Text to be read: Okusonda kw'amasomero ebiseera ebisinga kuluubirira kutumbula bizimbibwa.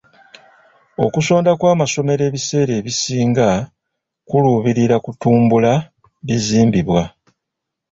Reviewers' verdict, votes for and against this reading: rejected, 1, 2